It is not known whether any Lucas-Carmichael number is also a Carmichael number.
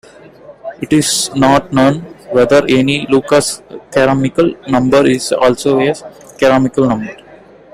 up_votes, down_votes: 1, 2